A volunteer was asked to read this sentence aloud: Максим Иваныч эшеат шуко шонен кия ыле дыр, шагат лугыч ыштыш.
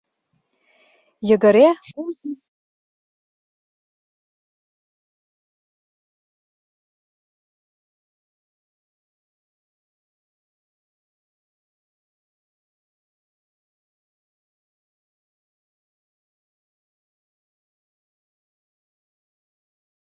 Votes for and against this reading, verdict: 0, 2, rejected